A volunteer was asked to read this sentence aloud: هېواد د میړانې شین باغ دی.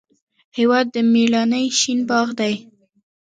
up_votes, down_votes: 2, 1